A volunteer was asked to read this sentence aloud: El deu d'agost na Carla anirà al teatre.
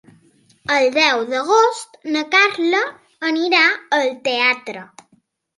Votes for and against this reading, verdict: 4, 0, accepted